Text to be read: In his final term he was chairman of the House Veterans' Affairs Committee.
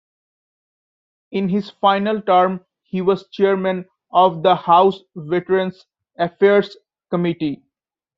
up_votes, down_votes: 3, 0